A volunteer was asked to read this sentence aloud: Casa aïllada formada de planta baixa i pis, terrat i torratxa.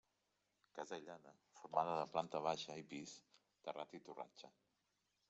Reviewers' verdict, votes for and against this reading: rejected, 0, 2